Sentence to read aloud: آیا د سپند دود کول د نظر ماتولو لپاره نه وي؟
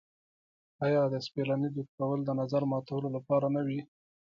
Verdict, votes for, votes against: rejected, 1, 2